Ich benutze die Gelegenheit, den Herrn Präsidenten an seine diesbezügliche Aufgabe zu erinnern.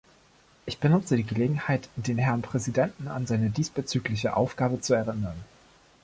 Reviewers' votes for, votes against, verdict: 1, 2, rejected